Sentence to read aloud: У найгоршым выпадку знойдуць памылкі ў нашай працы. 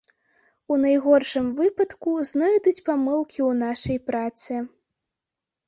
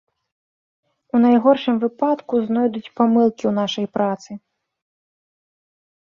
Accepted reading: second